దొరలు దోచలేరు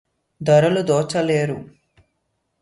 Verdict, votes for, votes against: accepted, 2, 0